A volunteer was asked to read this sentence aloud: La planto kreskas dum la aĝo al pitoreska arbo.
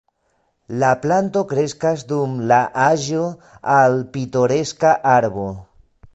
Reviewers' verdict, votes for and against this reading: rejected, 0, 2